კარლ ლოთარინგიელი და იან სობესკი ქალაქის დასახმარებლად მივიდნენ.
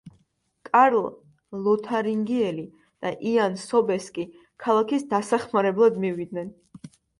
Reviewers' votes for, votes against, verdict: 2, 0, accepted